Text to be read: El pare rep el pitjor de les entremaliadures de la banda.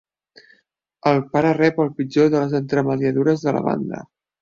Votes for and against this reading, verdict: 1, 2, rejected